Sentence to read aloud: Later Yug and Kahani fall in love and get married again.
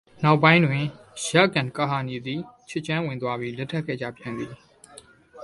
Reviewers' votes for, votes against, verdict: 0, 2, rejected